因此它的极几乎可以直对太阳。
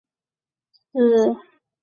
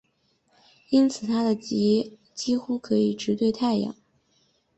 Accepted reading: second